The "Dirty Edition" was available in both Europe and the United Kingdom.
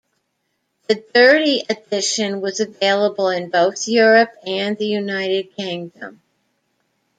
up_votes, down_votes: 0, 2